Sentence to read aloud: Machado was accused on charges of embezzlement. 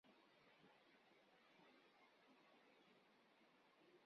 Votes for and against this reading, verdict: 0, 2, rejected